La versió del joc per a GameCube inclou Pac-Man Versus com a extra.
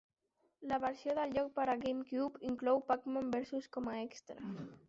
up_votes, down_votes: 1, 2